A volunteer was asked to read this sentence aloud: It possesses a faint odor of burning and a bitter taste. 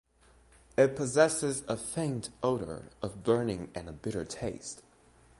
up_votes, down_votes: 2, 0